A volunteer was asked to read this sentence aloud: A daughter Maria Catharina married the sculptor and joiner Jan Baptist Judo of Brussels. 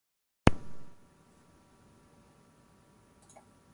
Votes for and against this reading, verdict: 0, 6, rejected